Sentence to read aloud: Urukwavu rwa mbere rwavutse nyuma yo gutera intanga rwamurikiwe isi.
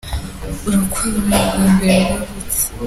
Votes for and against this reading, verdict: 0, 2, rejected